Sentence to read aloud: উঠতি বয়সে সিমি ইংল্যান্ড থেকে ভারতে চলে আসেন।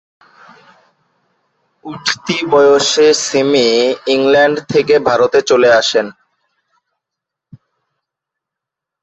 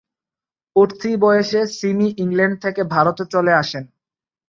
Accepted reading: second